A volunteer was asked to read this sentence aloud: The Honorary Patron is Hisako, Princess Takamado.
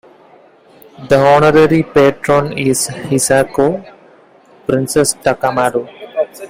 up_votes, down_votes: 2, 1